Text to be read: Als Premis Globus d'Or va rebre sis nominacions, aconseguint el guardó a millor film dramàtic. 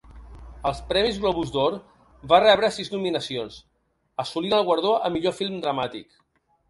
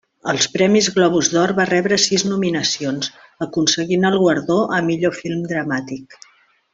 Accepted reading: second